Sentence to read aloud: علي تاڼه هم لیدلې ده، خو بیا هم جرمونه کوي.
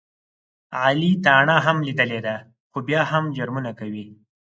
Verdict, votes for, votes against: accepted, 4, 0